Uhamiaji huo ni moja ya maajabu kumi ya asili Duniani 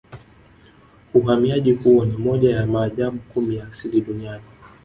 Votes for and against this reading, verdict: 2, 1, accepted